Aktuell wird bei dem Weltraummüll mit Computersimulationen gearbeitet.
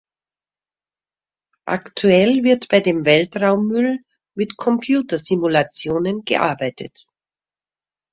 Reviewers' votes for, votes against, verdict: 2, 0, accepted